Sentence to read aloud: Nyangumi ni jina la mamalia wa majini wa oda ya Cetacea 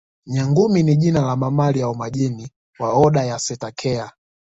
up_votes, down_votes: 2, 1